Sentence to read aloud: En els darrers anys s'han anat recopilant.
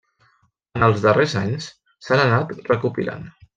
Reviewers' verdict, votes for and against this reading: accepted, 3, 0